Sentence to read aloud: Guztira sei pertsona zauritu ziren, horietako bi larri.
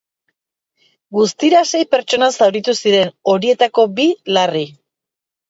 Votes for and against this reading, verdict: 0, 2, rejected